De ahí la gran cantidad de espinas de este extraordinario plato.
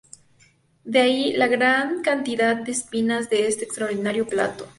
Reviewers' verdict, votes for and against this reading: rejected, 0, 2